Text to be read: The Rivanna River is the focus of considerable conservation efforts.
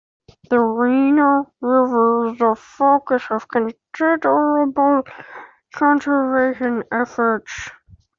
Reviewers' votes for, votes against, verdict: 0, 2, rejected